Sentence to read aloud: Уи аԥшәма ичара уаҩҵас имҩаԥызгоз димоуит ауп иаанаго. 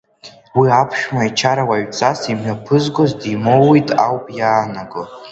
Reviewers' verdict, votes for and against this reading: rejected, 1, 2